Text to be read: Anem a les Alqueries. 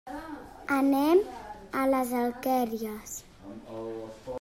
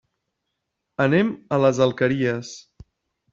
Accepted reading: second